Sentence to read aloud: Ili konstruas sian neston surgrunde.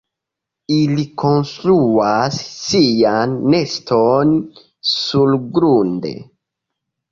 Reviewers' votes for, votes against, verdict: 2, 0, accepted